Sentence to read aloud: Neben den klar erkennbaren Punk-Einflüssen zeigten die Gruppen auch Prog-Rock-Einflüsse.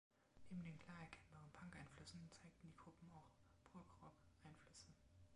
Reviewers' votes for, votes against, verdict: 0, 2, rejected